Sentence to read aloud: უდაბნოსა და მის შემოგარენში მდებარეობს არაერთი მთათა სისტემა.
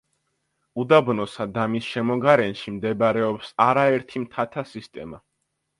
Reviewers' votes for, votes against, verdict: 2, 0, accepted